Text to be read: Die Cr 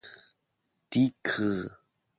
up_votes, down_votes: 1, 2